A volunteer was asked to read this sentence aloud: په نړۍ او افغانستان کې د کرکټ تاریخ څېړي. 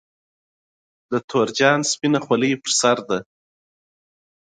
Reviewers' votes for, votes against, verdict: 0, 2, rejected